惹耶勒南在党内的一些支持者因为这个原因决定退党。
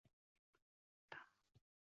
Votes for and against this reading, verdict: 2, 4, rejected